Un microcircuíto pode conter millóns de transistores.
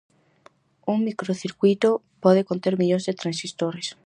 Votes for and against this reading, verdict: 4, 0, accepted